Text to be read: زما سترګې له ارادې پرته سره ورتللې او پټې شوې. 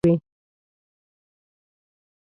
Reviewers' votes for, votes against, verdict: 0, 2, rejected